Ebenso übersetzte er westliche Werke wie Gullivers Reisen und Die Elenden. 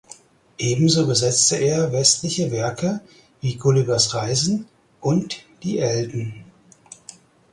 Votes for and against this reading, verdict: 0, 4, rejected